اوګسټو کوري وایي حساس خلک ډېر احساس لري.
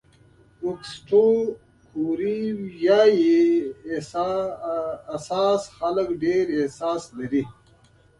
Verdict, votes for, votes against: rejected, 0, 2